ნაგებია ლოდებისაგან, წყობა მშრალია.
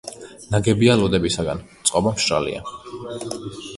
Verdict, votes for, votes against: accepted, 2, 0